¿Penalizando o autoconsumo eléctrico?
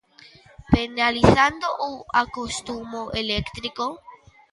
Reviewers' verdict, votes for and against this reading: rejected, 0, 2